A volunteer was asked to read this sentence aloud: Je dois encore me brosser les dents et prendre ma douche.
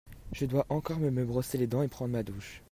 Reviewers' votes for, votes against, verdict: 0, 2, rejected